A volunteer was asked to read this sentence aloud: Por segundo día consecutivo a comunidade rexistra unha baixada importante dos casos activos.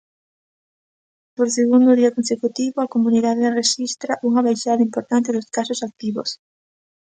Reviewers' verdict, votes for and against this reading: accepted, 2, 0